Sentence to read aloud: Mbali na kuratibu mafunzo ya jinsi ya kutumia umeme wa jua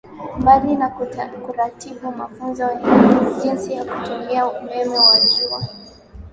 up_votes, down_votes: 7, 7